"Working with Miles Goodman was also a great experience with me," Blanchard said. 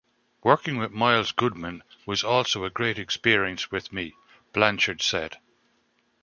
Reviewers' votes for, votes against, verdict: 2, 0, accepted